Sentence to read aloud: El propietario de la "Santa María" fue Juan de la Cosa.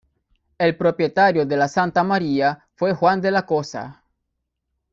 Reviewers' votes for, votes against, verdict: 0, 2, rejected